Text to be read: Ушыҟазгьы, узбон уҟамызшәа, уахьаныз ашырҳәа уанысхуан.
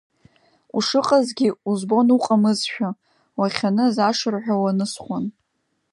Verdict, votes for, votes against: accepted, 2, 0